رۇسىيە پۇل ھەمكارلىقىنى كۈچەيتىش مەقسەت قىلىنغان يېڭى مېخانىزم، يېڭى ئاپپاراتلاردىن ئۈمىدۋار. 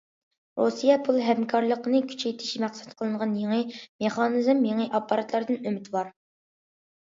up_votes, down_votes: 2, 0